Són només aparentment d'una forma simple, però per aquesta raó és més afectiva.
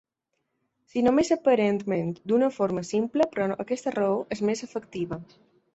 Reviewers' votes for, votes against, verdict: 0, 2, rejected